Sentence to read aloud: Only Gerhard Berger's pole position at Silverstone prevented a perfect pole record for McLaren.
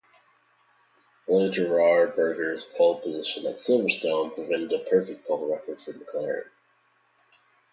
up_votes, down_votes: 0, 2